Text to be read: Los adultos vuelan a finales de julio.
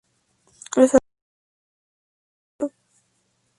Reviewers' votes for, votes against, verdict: 0, 2, rejected